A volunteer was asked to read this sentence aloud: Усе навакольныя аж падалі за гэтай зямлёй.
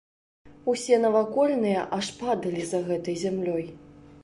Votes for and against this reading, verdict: 2, 0, accepted